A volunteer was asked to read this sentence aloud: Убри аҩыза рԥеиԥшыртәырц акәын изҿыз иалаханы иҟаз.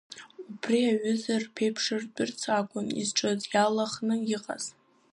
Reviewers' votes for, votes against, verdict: 5, 2, accepted